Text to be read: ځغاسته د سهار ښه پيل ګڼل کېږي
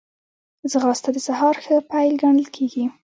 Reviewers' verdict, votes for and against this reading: rejected, 1, 2